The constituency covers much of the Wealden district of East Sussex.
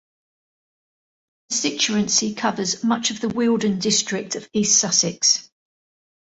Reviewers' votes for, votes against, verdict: 0, 2, rejected